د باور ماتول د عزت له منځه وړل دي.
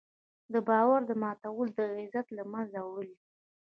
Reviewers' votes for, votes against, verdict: 0, 2, rejected